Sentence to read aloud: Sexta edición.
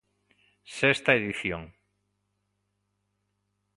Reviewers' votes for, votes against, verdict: 2, 0, accepted